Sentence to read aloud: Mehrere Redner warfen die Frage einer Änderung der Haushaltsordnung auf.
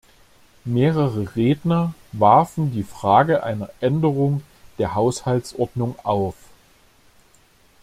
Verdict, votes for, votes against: accepted, 2, 0